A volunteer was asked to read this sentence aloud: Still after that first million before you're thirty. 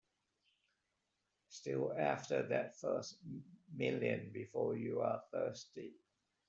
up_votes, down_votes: 2, 9